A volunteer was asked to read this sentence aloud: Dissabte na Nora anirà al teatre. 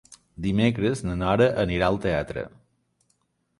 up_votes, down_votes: 0, 3